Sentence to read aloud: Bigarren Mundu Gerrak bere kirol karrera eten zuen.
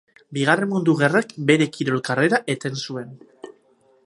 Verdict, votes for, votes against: rejected, 2, 2